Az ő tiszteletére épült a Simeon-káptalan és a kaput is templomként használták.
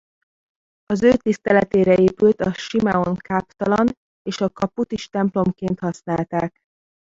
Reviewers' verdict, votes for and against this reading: rejected, 1, 2